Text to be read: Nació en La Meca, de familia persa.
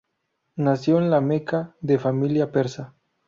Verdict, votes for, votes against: accepted, 4, 0